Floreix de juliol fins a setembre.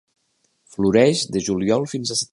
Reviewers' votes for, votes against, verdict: 1, 2, rejected